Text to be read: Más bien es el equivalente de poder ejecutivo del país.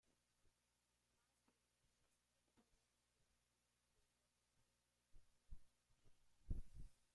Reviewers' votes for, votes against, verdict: 0, 2, rejected